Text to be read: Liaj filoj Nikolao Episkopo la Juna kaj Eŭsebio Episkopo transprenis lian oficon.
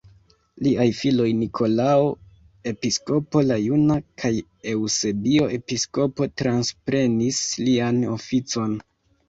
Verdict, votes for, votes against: accepted, 2, 1